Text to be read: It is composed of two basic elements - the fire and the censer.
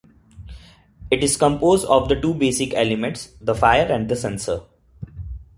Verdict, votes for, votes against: rejected, 1, 3